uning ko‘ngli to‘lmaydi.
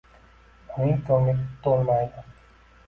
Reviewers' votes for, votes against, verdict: 2, 1, accepted